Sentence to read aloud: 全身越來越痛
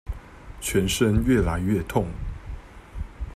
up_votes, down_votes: 2, 0